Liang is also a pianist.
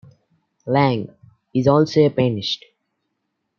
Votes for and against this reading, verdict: 2, 1, accepted